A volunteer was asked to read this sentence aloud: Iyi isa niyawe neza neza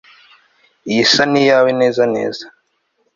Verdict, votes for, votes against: accepted, 2, 0